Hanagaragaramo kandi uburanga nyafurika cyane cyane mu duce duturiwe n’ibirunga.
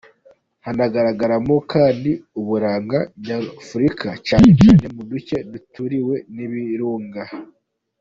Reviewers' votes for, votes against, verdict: 2, 1, accepted